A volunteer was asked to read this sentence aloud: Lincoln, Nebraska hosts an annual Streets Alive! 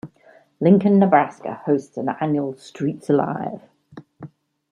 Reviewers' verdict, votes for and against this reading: rejected, 1, 2